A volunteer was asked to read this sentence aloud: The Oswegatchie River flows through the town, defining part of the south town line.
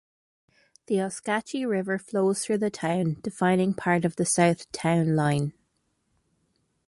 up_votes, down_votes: 0, 2